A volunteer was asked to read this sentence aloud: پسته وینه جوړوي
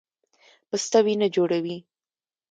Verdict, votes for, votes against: accepted, 2, 0